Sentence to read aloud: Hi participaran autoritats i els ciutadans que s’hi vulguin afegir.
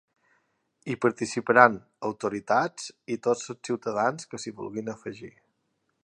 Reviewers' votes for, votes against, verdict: 0, 2, rejected